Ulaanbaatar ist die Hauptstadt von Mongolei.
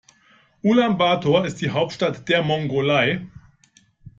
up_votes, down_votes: 0, 2